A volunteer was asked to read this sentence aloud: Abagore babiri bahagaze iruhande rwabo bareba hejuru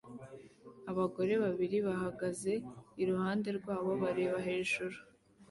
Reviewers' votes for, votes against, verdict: 2, 0, accepted